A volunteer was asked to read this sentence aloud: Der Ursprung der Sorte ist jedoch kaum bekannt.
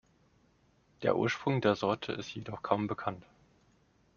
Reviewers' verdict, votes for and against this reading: accepted, 2, 0